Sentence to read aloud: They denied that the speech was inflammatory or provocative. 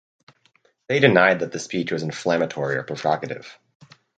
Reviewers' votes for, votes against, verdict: 4, 0, accepted